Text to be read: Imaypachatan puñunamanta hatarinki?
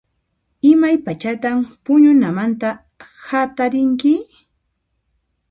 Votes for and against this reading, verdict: 0, 2, rejected